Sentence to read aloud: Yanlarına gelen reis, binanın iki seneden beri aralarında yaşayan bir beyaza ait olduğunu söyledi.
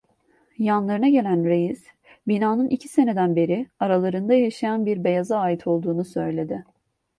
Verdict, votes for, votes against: accepted, 2, 0